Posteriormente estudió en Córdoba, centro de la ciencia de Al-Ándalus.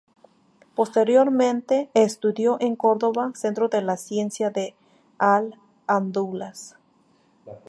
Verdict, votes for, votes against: rejected, 0, 2